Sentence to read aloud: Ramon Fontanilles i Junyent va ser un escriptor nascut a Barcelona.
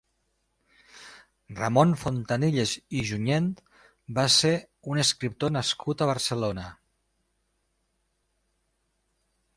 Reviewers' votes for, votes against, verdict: 1, 2, rejected